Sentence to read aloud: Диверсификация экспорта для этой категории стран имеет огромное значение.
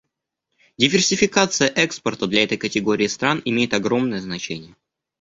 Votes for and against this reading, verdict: 2, 0, accepted